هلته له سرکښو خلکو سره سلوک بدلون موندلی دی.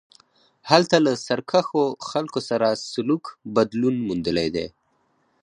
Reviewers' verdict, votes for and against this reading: rejected, 2, 4